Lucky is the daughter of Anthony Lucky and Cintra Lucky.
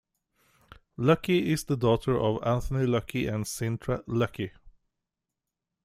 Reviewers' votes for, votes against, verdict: 2, 0, accepted